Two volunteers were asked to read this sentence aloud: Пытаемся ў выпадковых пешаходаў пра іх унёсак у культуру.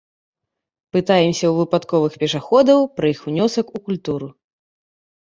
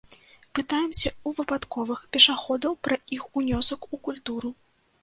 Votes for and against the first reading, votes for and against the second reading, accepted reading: 2, 0, 0, 2, first